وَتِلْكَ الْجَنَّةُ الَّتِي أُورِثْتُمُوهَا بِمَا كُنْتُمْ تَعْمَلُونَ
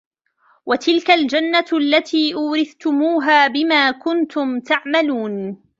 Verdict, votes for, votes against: rejected, 0, 2